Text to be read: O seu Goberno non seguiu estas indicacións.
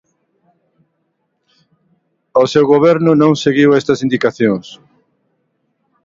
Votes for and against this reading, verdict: 2, 0, accepted